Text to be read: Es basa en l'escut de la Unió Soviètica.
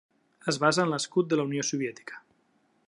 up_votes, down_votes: 3, 0